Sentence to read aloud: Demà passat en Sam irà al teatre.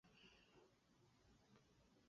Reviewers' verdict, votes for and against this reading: rejected, 0, 4